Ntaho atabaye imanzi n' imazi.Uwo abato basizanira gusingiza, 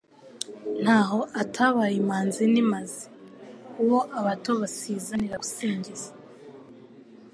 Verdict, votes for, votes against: accepted, 2, 0